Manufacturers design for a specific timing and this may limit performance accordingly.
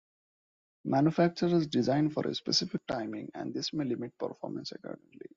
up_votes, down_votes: 2, 0